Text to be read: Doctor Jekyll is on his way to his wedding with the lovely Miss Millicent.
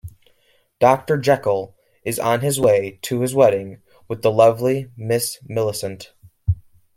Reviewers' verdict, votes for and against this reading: rejected, 1, 2